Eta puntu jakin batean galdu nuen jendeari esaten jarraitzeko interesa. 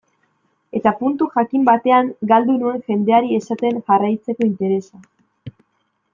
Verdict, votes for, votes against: accepted, 3, 0